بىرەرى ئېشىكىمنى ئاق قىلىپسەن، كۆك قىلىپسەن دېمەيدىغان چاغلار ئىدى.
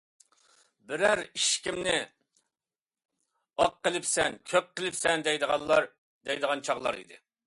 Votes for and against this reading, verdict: 0, 2, rejected